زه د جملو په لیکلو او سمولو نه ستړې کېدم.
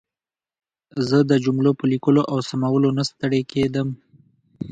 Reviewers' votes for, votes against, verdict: 3, 0, accepted